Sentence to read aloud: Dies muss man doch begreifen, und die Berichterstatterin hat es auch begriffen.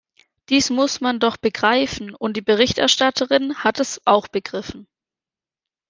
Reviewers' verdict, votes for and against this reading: accepted, 4, 0